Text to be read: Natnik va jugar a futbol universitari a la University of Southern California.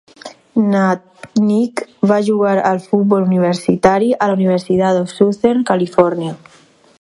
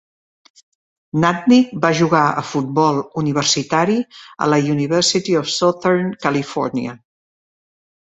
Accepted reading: second